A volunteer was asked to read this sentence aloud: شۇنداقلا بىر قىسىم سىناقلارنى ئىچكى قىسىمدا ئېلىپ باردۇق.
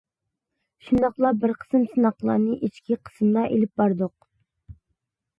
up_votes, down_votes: 2, 0